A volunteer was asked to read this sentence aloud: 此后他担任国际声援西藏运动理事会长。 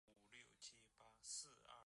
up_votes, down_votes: 0, 2